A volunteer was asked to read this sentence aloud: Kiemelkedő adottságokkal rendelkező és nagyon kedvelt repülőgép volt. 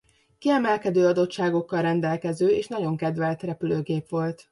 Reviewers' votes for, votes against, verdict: 2, 0, accepted